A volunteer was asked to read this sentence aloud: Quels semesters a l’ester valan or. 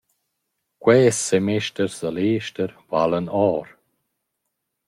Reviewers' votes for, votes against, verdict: 1, 2, rejected